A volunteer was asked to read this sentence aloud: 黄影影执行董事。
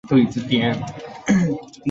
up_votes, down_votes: 0, 3